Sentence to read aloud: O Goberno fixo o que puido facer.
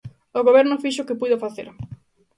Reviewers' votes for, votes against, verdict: 2, 0, accepted